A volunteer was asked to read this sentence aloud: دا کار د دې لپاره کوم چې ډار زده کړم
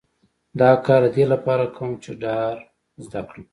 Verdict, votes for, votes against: accepted, 3, 0